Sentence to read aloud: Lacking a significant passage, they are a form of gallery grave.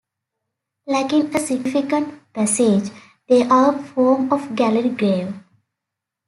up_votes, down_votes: 0, 2